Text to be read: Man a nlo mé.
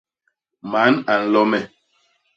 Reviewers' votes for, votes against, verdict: 0, 2, rejected